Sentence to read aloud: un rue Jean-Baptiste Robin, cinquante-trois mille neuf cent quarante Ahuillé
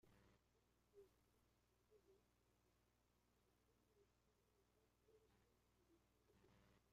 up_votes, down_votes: 0, 2